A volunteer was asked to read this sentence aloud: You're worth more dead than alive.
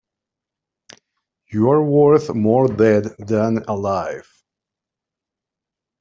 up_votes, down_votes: 3, 0